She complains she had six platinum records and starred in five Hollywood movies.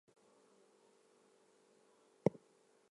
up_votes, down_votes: 0, 4